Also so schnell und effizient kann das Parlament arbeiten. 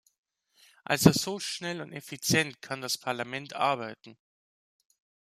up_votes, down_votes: 2, 0